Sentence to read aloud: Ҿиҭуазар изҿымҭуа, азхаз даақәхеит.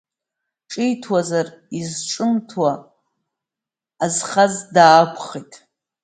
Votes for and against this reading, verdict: 1, 2, rejected